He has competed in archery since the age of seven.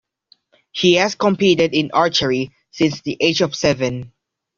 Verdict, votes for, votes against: accepted, 2, 0